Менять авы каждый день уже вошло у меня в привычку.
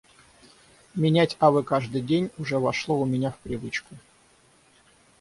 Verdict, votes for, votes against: rejected, 0, 3